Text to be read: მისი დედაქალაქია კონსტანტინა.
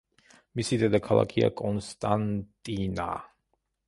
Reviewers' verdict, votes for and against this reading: accepted, 2, 0